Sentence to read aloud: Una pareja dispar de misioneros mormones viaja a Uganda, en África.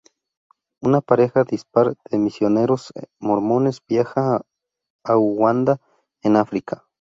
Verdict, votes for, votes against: rejected, 0, 2